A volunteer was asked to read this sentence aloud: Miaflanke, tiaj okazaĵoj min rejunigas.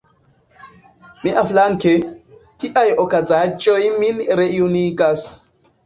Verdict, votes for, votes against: rejected, 1, 2